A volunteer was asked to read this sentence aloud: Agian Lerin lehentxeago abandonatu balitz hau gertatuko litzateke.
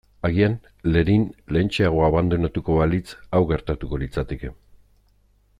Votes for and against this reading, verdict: 1, 2, rejected